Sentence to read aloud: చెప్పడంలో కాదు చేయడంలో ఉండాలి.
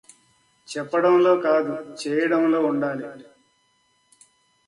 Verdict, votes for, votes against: accepted, 2, 0